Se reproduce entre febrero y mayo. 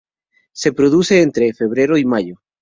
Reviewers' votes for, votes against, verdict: 0, 2, rejected